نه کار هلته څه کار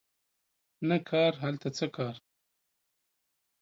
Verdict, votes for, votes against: accepted, 2, 0